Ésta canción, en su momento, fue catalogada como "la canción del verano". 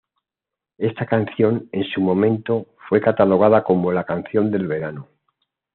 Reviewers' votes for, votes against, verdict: 2, 1, accepted